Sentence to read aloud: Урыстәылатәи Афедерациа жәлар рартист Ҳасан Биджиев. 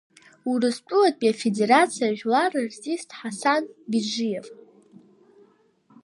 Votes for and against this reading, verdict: 2, 1, accepted